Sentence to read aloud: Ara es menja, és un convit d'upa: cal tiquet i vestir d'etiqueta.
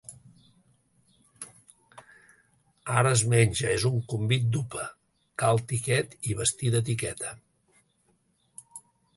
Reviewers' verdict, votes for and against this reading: accepted, 3, 0